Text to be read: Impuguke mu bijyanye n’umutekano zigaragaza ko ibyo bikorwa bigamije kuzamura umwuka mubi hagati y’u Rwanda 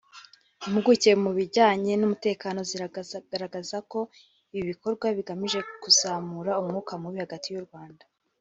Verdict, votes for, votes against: accepted, 2, 0